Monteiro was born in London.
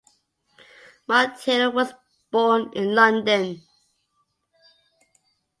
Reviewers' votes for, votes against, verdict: 2, 0, accepted